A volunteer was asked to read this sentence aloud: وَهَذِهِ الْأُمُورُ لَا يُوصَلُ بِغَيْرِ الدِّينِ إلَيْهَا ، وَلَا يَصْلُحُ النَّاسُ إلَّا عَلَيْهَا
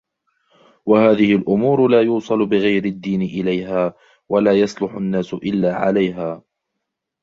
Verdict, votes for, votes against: accepted, 2, 1